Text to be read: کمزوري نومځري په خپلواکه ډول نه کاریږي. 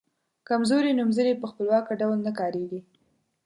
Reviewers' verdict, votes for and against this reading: accepted, 2, 0